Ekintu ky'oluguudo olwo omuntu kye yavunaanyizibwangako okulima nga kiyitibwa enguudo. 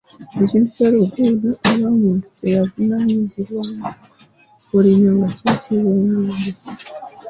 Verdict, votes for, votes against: rejected, 0, 2